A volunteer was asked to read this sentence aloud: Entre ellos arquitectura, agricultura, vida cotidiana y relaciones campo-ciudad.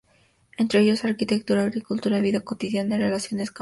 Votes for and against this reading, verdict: 2, 0, accepted